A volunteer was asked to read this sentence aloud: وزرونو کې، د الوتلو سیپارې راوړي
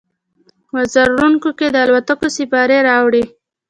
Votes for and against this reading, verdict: 2, 0, accepted